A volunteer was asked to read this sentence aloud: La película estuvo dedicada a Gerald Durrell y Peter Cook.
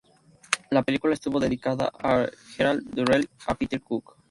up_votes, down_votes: 0, 2